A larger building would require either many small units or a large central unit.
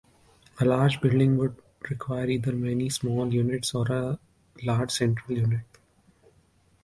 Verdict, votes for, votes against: rejected, 0, 2